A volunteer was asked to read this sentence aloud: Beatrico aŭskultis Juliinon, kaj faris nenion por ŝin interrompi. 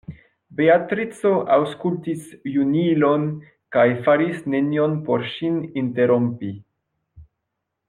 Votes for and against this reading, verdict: 1, 2, rejected